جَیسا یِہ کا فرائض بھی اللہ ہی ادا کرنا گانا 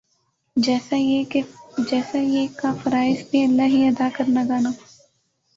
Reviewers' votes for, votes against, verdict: 3, 5, rejected